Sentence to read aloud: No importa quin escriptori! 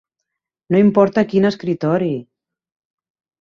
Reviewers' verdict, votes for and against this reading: rejected, 0, 2